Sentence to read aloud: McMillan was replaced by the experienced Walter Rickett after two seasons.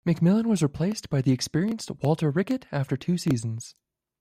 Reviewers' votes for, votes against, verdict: 2, 0, accepted